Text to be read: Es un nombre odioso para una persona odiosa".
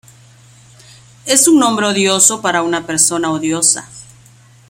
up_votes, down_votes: 2, 0